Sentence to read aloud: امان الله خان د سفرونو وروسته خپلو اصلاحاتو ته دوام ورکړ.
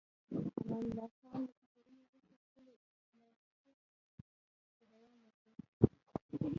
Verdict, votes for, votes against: rejected, 1, 2